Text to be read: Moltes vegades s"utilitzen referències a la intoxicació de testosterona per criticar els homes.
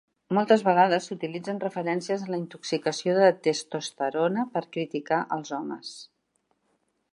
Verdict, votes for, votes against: accepted, 2, 0